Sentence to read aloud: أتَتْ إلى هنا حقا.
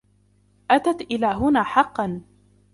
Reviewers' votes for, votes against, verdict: 2, 0, accepted